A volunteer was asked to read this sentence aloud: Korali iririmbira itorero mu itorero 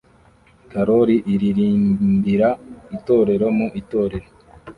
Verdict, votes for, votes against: rejected, 0, 2